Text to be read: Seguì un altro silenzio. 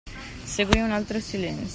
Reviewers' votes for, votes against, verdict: 0, 2, rejected